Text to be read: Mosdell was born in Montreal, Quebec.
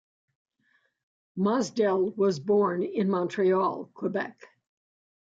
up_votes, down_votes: 2, 0